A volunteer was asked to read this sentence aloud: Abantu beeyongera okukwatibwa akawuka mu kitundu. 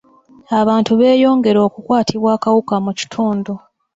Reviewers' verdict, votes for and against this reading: accepted, 2, 0